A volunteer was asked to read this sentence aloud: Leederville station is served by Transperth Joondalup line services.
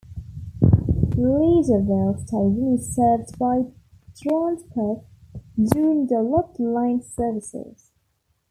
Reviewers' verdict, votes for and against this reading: accepted, 2, 1